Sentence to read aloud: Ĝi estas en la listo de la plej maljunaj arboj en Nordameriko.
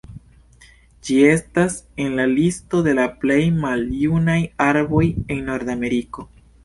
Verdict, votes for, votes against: accepted, 2, 0